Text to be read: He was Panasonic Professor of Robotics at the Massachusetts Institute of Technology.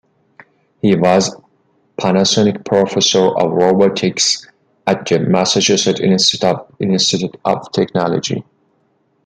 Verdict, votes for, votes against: rejected, 2, 3